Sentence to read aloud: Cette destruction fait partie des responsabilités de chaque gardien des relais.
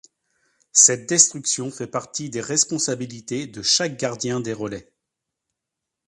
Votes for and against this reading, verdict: 2, 0, accepted